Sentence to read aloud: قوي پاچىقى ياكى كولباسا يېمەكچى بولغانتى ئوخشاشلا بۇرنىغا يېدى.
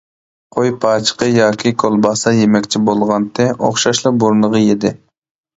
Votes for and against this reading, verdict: 2, 0, accepted